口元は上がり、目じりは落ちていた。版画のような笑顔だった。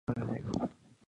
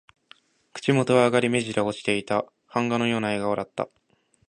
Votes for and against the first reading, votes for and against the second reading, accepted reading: 1, 2, 4, 0, second